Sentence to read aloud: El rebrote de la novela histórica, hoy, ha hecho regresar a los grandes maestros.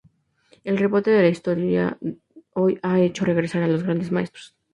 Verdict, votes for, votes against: accepted, 4, 0